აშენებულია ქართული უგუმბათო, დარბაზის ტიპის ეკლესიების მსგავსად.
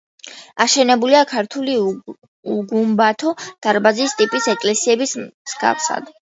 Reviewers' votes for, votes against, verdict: 2, 0, accepted